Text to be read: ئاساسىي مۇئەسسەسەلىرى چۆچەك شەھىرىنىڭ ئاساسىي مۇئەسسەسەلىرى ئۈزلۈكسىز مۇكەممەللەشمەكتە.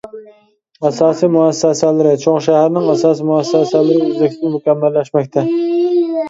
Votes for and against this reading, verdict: 0, 2, rejected